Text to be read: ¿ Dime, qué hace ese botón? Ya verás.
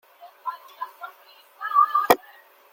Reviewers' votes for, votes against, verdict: 0, 2, rejected